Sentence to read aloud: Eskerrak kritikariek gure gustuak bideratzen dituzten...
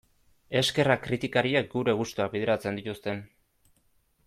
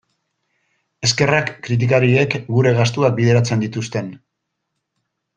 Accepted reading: first